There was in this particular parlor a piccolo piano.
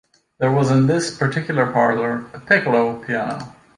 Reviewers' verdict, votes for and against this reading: accepted, 2, 0